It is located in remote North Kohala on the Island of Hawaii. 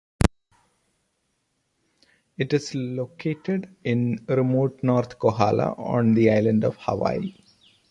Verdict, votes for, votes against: accepted, 2, 0